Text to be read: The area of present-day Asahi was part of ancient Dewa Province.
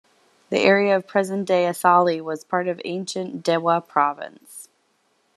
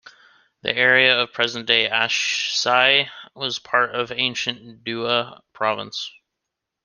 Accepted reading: first